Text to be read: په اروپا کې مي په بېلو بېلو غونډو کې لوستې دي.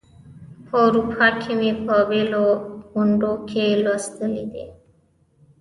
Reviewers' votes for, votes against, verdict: 1, 2, rejected